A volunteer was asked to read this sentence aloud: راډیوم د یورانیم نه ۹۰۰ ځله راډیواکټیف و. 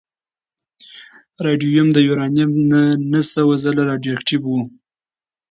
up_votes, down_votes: 0, 2